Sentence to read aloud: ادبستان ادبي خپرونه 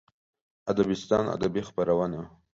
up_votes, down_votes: 2, 0